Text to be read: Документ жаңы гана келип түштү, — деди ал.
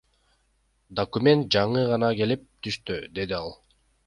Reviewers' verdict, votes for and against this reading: accepted, 2, 0